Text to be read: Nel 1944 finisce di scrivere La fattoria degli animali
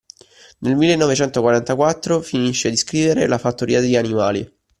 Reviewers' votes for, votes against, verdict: 0, 2, rejected